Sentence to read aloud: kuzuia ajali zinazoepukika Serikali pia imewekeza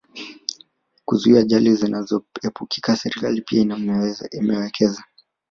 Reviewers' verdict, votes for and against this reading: rejected, 1, 2